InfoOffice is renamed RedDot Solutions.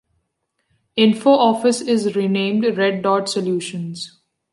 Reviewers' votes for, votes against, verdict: 2, 0, accepted